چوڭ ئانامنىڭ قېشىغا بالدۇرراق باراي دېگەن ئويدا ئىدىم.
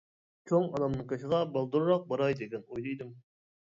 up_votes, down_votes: 1, 2